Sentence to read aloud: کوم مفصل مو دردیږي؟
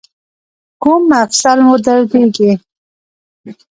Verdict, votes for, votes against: accepted, 2, 0